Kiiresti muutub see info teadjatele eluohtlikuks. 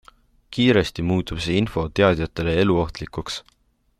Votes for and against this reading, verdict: 2, 0, accepted